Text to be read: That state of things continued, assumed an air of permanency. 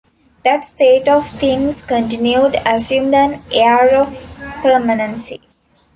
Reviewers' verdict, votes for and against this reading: accepted, 2, 0